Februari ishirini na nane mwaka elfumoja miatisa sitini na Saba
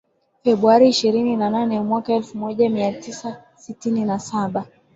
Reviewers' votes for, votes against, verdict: 3, 0, accepted